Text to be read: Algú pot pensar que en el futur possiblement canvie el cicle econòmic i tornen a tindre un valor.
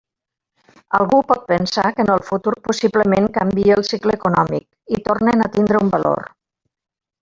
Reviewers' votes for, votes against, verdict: 0, 2, rejected